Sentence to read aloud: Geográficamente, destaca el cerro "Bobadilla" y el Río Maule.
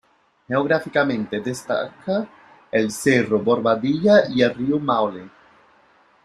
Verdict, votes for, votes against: accepted, 2, 0